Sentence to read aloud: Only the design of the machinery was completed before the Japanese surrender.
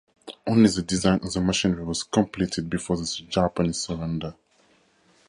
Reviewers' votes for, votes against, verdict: 0, 4, rejected